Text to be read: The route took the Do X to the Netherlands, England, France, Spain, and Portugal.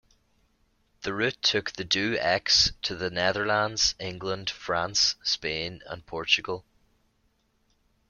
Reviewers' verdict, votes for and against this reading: accepted, 2, 0